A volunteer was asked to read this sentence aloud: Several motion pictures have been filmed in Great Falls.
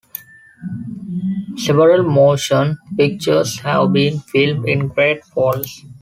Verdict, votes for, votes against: accepted, 2, 0